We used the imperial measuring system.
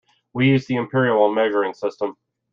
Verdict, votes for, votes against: accepted, 3, 2